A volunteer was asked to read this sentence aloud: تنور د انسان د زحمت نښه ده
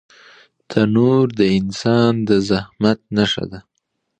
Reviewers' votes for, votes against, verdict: 2, 0, accepted